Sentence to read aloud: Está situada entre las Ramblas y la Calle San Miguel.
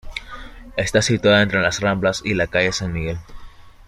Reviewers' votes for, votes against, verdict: 2, 0, accepted